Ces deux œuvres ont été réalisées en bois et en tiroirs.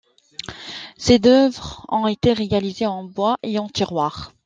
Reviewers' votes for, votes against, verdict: 0, 2, rejected